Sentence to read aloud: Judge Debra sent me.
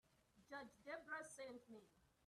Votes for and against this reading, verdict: 0, 2, rejected